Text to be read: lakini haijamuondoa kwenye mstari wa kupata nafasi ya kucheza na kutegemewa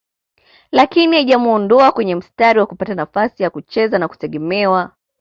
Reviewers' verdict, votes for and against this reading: accepted, 2, 0